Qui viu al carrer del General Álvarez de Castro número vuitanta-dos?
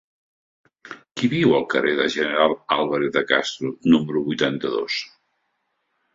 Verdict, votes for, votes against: accepted, 2, 0